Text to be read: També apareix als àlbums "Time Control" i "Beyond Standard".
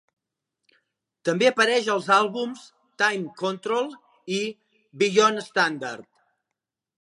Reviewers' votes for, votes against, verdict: 1, 2, rejected